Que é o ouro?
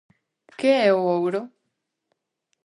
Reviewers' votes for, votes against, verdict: 2, 0, accepted